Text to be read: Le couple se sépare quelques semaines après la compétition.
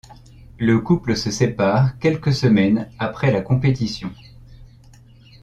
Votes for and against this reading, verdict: 2, 0, accepted